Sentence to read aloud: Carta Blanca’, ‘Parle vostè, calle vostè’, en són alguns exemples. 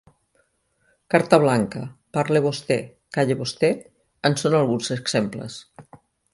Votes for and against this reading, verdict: 2, 0, accepted